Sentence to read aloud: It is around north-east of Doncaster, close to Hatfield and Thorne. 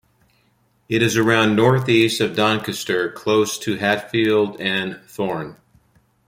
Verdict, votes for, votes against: rejected, 1, 2